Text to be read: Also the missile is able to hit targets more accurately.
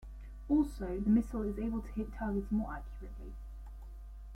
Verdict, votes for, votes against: rejected, 1, 2